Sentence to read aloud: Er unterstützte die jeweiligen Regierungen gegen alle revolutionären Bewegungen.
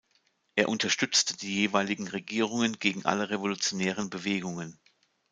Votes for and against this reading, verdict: 0, 2, rejected